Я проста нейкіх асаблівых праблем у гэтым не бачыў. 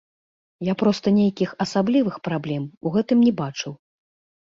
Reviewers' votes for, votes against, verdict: 1, 2, rejected